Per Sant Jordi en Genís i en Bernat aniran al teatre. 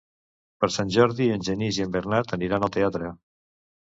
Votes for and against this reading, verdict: 2, 0, accepted